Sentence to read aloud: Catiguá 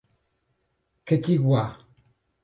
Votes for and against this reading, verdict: 2, 2, rejected